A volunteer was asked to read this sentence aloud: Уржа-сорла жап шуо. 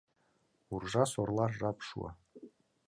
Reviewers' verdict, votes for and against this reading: accepted, 2, 0